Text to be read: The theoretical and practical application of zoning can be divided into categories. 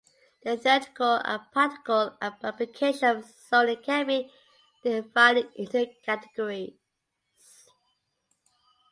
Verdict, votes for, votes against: rejected, 0, 2